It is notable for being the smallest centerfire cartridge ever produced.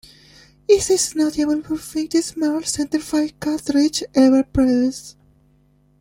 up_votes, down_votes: 0, 2